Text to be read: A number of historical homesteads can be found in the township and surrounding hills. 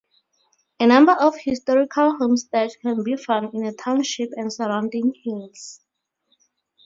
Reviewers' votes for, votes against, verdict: 2, 0, accepted